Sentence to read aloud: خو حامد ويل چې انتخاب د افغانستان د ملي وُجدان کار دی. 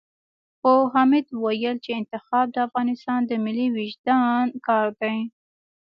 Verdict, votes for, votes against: rejected, 0, 2